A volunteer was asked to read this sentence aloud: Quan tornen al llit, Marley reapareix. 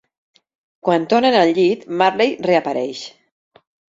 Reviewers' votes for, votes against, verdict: 0, 2, rejected